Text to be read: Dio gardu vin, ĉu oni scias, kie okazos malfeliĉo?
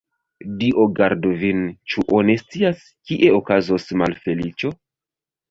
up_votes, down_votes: 2, 1